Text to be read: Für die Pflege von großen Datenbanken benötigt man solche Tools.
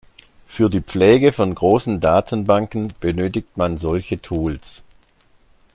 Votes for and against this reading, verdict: 2, 0, accepted